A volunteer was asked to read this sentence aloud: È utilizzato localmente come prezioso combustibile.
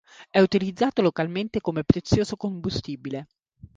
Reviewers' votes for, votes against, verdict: 3, 0, accepted